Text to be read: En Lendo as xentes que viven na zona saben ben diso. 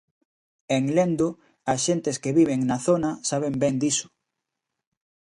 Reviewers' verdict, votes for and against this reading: accepted, 2, 0